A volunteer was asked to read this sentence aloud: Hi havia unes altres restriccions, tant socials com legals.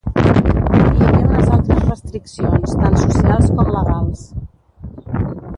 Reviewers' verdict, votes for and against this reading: rejected, 0, 3